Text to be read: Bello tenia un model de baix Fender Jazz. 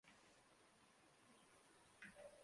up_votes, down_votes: 0, 3